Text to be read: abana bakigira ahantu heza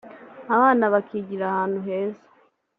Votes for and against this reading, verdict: 2, 0, accepted